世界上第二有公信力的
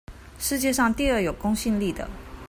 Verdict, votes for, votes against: accepted, 2, 0